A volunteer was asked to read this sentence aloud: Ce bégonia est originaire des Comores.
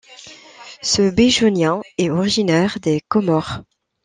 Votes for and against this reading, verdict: 0, 2, rejected